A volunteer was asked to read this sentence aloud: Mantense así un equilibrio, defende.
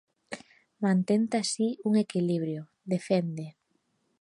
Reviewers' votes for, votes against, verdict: 0, 2, rejected